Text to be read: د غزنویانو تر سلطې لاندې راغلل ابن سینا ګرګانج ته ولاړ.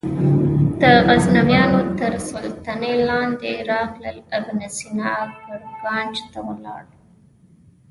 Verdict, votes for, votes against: rejected, 0, 2